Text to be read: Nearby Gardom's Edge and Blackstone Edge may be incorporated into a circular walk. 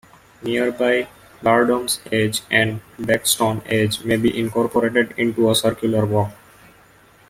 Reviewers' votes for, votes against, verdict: 1, 2, rejected